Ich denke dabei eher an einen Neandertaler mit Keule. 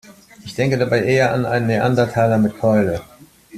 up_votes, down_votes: 2, 0